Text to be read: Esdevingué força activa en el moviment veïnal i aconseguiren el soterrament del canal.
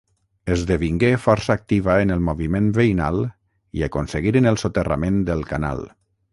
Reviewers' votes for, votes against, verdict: 3, 3, rejected